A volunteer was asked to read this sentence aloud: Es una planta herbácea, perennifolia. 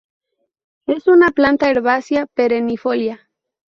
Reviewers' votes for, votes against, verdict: 2, 2, rejected